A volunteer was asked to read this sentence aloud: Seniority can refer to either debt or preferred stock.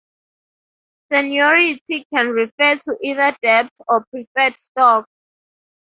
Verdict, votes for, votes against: accepted, 2, 0